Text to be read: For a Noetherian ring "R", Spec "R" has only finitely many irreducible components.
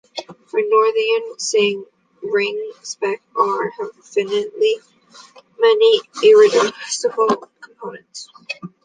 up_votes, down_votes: 0, 2